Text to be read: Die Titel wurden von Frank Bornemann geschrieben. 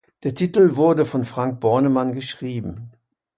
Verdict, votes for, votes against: rejected, 1, 2